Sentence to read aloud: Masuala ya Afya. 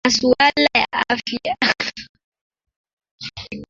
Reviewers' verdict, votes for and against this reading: rejected, 0, 2